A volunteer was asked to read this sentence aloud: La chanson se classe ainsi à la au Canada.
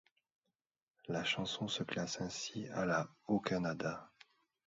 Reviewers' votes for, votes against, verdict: 2, 0, accepted